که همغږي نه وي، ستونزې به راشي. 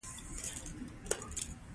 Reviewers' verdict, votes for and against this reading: accepted, 2, 1